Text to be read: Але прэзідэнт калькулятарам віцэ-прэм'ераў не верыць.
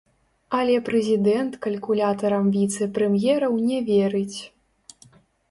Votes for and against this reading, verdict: 1, 2, rejected